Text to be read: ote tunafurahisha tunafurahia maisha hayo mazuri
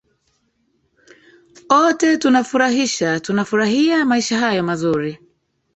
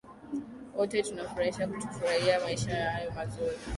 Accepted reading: second